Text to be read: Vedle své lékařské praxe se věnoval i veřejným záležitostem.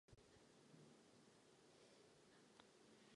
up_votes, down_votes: 0, 2